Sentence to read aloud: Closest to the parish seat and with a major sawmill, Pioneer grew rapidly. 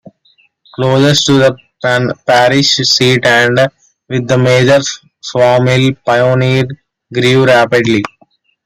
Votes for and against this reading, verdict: 0, 2, rejected